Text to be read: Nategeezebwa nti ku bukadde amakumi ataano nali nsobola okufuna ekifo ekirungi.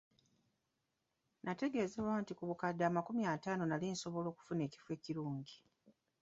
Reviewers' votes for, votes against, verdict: 3, 0, accepted